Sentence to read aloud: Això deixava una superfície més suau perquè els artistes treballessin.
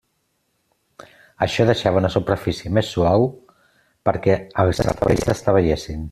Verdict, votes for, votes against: rejected, 0, 2